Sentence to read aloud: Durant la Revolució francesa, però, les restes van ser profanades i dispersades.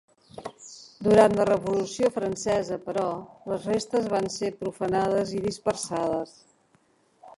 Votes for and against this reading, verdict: 1, 2, rejected